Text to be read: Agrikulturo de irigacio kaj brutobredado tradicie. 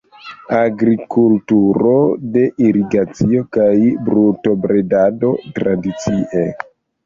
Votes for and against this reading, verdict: 0, 2, rejected